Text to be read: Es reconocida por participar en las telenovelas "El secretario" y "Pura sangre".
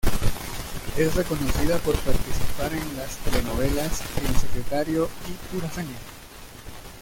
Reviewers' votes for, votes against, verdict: 0, 2, rejected